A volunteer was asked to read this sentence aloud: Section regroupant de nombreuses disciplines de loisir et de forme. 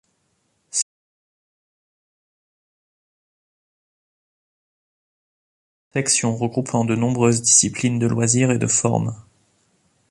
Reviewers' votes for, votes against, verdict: 0, 2, rejected